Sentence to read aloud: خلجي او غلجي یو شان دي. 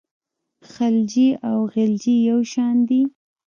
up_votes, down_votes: 1, 2